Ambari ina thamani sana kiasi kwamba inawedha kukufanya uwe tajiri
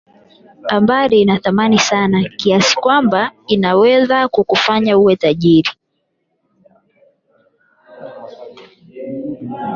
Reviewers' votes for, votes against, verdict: 0, 8, rejected